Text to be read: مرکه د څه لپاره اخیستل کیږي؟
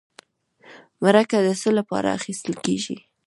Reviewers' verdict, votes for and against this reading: rejected, 1, 2